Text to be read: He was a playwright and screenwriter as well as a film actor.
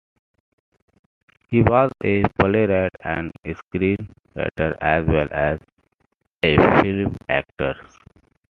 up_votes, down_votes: 2, 1